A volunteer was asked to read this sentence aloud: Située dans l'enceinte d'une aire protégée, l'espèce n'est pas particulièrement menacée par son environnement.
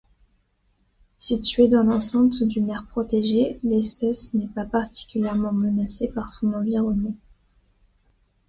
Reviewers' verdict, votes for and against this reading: accepted, 2, 0